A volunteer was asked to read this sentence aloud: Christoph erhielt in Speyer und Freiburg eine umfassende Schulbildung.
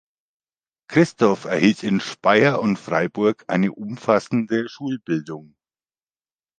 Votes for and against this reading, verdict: 2, 1, accepted